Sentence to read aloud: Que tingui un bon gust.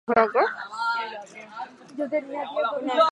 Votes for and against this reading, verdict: 0, 4, rejected